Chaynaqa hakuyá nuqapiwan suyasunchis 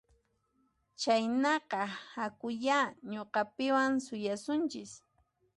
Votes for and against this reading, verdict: 1, 2, rejected